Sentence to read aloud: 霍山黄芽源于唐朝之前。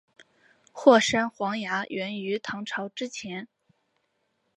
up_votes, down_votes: 2, 0